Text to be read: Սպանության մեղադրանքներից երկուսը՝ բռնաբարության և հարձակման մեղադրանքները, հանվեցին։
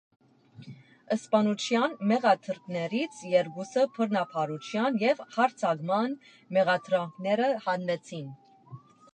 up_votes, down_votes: 1, 2